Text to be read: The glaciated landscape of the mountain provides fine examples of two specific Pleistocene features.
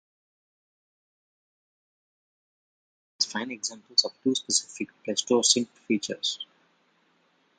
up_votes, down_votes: 0, 2